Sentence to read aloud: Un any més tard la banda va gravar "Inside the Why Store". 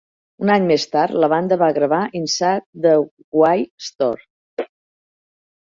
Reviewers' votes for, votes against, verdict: 2, 0, accepted